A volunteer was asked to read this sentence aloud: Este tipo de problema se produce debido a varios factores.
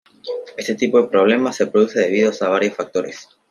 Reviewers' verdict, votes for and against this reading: rejected, 1, 2